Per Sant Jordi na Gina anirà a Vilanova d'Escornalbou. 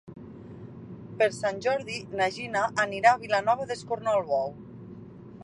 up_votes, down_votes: 4, 0